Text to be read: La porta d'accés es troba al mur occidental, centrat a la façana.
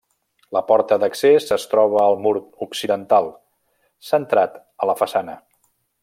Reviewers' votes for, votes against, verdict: 3, 0, accepted